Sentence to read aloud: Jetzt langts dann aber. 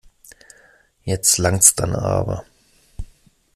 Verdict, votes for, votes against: accepted, 2, 0